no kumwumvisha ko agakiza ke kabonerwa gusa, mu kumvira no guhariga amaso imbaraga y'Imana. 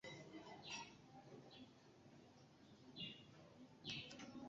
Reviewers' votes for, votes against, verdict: 1, 2, rejected